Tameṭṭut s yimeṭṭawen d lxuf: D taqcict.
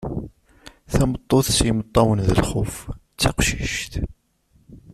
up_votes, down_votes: 1, 2